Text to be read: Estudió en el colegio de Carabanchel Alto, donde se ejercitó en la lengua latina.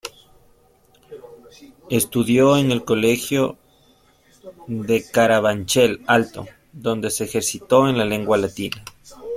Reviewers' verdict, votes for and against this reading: accepted, 2, 0